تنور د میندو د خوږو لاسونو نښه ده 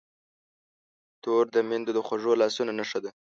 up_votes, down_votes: 2, 4